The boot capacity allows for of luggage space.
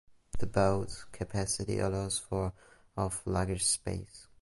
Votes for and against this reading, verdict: 0, 2, rejected